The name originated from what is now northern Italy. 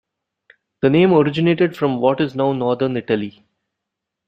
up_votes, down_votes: 0, 2